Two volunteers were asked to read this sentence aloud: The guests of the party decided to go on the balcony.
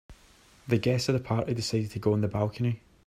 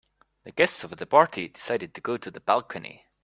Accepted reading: first